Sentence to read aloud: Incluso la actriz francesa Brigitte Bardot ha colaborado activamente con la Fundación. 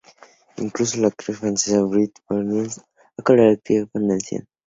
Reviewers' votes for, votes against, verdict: 0, 2, rejected